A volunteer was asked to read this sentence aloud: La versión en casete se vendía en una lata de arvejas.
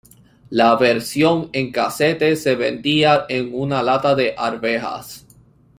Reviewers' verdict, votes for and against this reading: accepted, 2, 0